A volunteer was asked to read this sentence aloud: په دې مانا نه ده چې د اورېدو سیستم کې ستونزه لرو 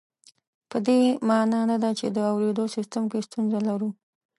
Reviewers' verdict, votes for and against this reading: accepted, 2, 0